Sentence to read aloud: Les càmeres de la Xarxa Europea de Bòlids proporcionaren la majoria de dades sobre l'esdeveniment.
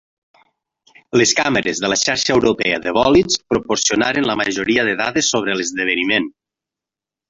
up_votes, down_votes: 2, 3